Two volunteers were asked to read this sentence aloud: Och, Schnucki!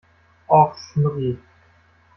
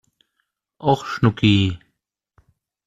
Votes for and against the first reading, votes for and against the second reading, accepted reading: 1, 2, 2, 0, second